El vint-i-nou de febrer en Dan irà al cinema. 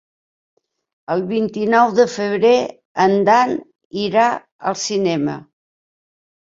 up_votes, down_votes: 3, 0